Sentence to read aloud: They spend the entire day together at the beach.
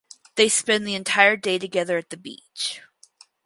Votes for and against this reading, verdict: 2, 0, accepted